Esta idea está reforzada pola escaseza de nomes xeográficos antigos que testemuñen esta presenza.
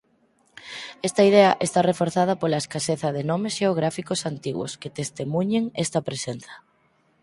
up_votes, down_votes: 2, 4